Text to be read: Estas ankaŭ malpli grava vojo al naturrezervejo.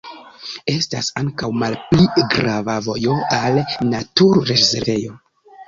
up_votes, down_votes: 1, 2